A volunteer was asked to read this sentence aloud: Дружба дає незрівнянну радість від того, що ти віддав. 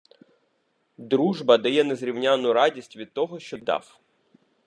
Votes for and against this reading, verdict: 0, 2, rejected